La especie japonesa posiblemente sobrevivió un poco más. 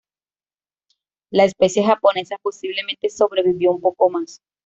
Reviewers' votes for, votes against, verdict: 2, 0, accepted